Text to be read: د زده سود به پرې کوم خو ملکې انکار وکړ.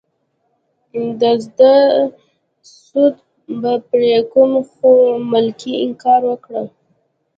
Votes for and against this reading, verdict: 2, 1, accepted